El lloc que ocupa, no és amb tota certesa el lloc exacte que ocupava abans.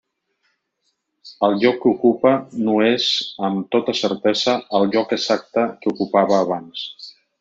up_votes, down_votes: 3, 0